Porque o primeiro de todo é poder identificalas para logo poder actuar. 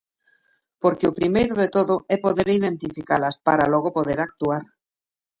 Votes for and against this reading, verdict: 2, 1, accepted